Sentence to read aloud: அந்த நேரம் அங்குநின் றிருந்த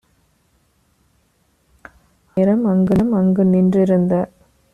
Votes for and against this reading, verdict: 0, 2, rejected